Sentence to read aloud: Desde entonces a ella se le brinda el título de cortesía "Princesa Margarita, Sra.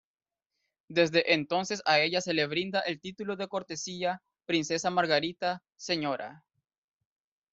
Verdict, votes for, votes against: accepted, 2, 1